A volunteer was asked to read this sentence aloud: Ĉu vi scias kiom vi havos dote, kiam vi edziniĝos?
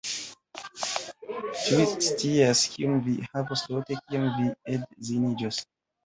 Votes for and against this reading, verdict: 1, 2, rejected